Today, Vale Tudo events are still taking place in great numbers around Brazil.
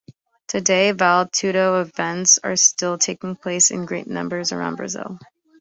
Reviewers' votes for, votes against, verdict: 2, 0, accepted